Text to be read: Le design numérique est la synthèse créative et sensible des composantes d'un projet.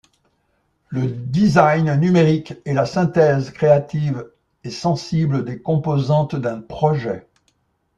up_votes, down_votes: 2, 0